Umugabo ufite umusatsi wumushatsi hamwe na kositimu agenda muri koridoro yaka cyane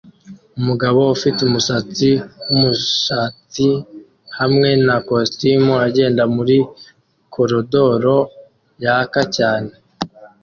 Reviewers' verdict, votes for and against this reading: accepted, 2, 0